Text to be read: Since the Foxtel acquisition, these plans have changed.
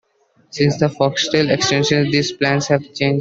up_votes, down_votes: 1, 2